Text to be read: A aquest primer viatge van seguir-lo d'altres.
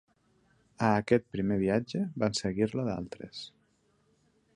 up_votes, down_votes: 2, 0